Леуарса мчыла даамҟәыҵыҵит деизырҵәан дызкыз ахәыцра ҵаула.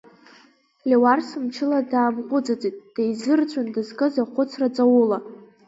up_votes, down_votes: 2, 0